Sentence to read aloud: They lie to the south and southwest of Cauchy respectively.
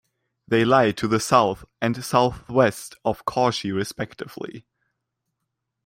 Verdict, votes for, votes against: accepted, 2, 0